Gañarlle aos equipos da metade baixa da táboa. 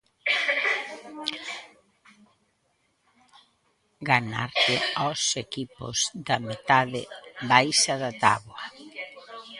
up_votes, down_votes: 0, 2